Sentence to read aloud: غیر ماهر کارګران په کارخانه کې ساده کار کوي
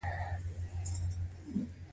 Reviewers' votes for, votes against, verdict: 2, 0, accepted